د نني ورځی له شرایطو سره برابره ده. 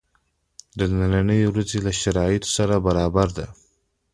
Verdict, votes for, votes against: accepted, 2, 0